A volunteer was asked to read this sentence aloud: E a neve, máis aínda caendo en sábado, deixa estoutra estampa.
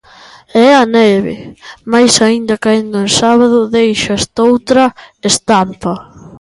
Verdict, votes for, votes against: rejected, 0, 2